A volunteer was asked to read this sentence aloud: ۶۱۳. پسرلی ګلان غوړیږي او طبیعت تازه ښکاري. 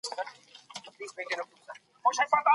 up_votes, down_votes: 0, 2